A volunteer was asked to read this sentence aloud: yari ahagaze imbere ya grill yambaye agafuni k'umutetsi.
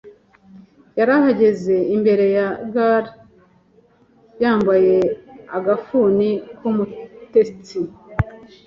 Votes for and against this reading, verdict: 1, 2, rejected